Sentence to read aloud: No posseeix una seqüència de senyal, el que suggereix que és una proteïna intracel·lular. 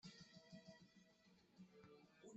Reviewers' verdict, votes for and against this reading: rejected, 0, 2